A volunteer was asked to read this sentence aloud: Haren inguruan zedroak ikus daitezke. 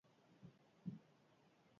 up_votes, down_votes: 0, 6